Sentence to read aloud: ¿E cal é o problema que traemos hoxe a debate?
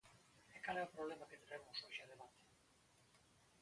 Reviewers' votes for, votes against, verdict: 0, 2, rejected